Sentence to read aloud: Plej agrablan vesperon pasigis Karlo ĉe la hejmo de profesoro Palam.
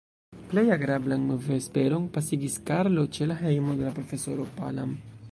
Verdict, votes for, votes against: rejected, 1, 2